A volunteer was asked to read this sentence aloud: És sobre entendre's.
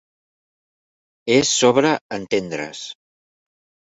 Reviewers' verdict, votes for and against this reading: accepted, 2, 0